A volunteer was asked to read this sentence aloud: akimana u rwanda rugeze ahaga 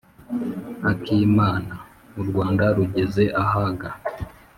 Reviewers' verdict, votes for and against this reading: accepted, 2, 0